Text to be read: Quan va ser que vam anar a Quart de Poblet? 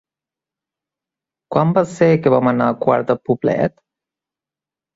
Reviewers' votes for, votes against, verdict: 2, 0, accepted